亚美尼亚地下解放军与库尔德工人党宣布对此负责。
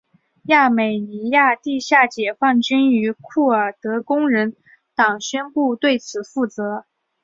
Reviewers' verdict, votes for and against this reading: accepted, 2, 0